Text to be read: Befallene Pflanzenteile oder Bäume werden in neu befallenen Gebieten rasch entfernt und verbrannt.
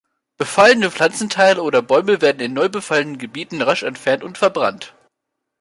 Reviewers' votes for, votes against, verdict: 2, 1, accepted